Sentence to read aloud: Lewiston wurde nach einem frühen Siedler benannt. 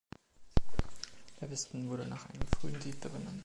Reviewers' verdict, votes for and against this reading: accepted, 2, 1